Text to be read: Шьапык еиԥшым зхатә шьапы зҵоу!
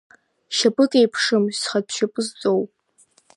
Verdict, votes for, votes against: accepted, 2, 0